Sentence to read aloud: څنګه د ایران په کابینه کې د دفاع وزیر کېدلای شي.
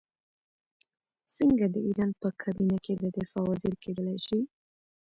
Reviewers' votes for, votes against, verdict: 1, 2, rejected